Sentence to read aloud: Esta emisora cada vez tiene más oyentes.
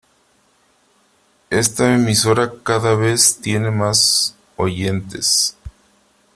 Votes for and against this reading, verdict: 3, 0, accepted